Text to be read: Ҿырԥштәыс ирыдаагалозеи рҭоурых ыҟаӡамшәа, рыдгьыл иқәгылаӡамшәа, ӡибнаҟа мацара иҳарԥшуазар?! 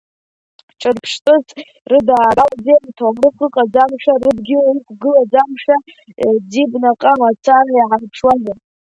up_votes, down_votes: 2, 1